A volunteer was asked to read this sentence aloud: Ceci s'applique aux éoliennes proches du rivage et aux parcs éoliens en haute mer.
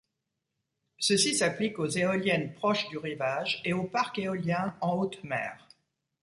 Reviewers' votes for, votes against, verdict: 2, 0, accepted